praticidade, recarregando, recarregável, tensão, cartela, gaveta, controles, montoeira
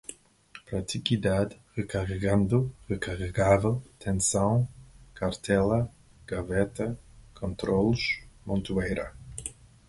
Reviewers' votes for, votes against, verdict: 2, 4, rejected